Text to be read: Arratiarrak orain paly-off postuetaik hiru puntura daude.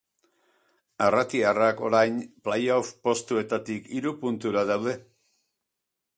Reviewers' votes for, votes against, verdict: 0, 2, rejected